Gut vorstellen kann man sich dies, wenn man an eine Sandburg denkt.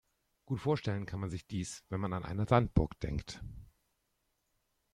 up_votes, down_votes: 2, 0